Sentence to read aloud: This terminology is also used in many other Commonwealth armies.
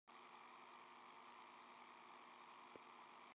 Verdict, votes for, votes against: rejected, 0, 2